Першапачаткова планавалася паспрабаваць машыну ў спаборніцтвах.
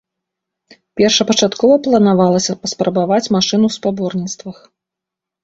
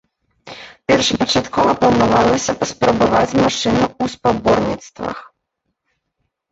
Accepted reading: first